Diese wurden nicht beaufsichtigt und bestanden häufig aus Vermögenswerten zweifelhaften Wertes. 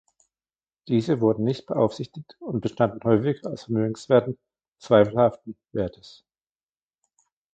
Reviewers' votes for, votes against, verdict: 1, 2, rejected